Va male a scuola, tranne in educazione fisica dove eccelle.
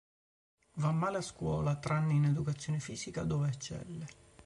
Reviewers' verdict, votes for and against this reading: accepted, 4, 1